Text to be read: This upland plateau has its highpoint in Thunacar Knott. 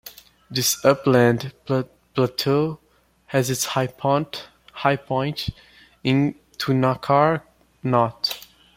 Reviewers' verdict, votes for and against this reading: rejected, 0, 2